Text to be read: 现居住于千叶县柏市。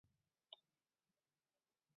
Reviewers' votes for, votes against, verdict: 0, 2, rejected